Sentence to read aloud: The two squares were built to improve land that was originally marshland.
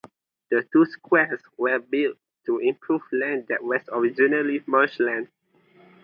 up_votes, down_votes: 2, 0